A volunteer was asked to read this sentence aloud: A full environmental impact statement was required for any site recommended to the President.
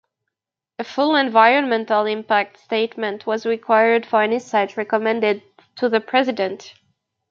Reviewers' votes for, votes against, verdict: 2, 0, accepted